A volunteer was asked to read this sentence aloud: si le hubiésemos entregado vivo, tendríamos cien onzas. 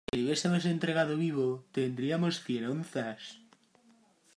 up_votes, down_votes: 1, 2